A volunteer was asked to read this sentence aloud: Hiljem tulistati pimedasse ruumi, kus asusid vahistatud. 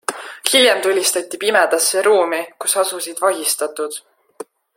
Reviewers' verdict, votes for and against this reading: accepted, 2, 0